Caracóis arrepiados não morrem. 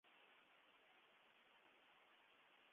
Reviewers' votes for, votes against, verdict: 0, 2, rejected